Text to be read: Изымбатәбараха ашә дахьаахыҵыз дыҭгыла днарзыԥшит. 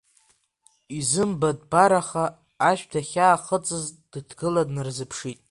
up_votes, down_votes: 2, 1